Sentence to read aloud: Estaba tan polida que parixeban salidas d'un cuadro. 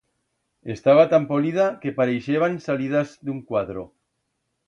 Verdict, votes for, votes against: accepted, 2, 0